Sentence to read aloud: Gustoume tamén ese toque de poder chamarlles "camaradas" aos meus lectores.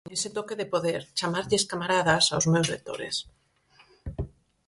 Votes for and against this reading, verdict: 2, 4, rejected